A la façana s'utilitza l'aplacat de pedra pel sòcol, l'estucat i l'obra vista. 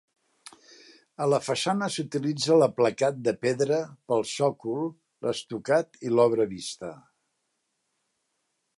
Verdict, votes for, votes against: accepted, 2, 0